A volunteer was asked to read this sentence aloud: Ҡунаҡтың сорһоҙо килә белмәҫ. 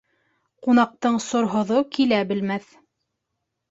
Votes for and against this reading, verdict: 2, 0, accepted